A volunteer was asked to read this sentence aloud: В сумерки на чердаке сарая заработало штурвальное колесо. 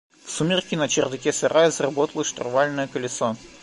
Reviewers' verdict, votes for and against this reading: accepted, 2, 0